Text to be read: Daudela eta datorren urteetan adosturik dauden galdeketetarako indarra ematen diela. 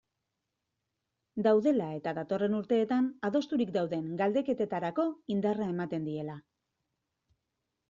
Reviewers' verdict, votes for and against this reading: accepted, 2, 0